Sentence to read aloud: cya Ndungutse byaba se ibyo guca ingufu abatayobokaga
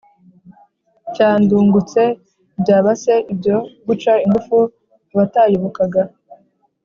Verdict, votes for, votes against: accepted, 2, 0